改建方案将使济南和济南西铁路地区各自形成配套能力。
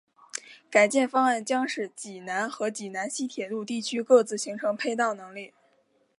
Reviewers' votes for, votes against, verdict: 3, 2, accepted